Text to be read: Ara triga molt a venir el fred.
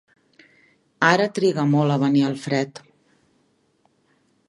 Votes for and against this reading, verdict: 2, 0, accepted